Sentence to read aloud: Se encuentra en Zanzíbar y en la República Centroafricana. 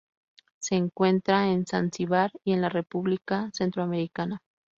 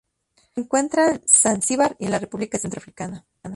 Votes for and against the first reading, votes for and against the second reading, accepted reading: 0, 2, 2, 0, second